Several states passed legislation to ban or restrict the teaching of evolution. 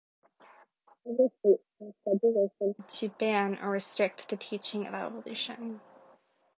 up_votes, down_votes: 2, 1